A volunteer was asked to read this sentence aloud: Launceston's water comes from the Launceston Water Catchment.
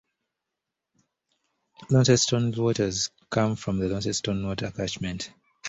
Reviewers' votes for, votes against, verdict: 2, 1, accepted